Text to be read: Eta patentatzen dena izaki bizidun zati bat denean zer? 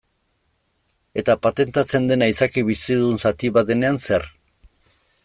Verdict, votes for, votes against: accepted, 2, 0